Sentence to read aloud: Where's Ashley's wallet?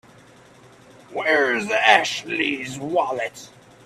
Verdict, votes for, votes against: accepted, 3, 0